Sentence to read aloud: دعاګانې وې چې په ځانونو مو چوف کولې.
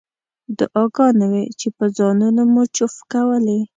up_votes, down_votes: 2, 0